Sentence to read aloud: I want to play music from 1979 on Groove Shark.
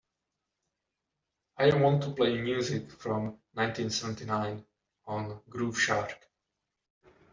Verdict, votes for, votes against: rejected, 0, 2